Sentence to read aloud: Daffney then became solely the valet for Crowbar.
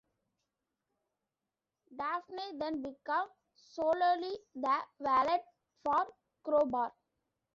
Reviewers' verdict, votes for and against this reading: rejected, 1, 2